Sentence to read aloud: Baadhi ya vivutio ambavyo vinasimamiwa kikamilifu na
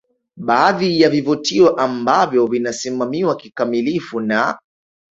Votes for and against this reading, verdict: 2, 0, accepted